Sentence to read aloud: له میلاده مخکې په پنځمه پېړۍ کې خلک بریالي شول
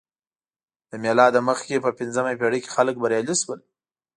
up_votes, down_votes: 2, 0